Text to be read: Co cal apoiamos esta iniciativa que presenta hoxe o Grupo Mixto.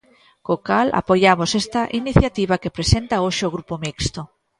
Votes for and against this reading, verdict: 3, 0, accepted